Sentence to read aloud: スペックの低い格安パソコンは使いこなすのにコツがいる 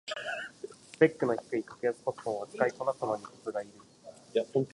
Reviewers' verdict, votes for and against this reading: rejected, 0, 2